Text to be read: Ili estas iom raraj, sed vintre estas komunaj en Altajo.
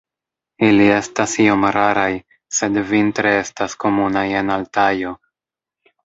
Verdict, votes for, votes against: rejected, 1, 2